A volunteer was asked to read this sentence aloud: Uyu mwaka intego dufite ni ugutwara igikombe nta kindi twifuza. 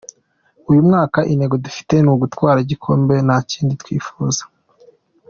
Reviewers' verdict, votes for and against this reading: accepted, 2, 0